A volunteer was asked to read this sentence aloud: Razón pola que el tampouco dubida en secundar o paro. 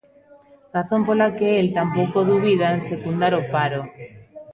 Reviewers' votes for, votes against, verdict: 1, 2, rejected